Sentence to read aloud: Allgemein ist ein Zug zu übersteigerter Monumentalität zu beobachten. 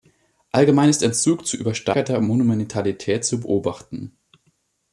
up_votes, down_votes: 1, 2